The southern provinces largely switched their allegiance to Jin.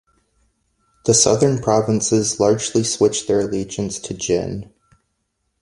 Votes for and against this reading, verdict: 2, 0, accepted